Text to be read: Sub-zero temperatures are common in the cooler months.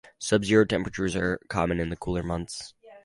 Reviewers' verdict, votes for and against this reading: accepted, 4, 0